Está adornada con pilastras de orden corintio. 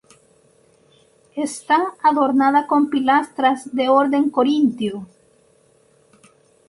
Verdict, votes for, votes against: accepted, 4, 2